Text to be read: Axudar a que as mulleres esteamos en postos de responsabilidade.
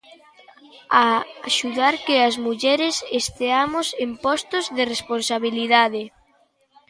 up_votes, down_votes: 0, 3